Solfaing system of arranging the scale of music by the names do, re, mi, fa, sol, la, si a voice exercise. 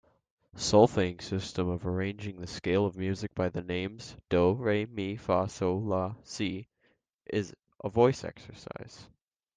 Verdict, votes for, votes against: accepted, 2, 1